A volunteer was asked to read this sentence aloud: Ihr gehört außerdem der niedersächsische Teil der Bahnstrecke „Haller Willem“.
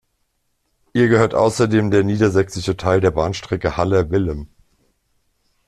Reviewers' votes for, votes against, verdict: 2, 0, accepted